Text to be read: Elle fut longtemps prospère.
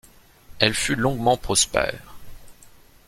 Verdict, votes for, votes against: rejected, 1, 2